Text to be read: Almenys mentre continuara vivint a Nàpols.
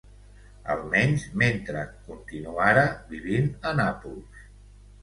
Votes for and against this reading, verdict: 2, 0, accepted